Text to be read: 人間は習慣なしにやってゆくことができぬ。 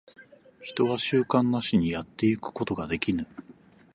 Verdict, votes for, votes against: accepted, 4, 0